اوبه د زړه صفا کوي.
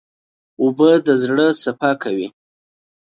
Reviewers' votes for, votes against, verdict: 2, 0, accepted